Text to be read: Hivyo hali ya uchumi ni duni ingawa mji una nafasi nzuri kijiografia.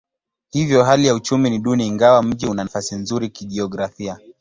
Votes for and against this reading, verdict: 2, 0, accepted